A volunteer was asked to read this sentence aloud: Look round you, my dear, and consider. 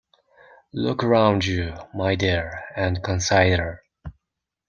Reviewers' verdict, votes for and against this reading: rejected, 0, 2